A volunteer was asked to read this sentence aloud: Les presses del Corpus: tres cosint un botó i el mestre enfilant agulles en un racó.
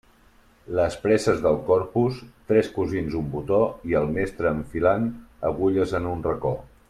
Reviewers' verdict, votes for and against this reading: rejected, 1, 2